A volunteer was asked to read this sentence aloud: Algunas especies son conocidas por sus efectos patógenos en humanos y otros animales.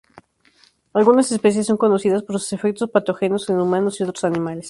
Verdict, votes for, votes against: accepted, 2, 0